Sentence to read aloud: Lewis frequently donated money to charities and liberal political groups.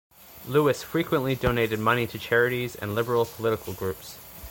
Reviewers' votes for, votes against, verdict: 2, 1, accepted